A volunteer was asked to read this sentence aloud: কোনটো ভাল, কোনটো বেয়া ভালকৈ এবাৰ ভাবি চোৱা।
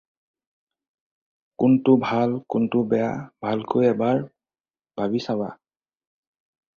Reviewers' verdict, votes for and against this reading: rejected, 0, 4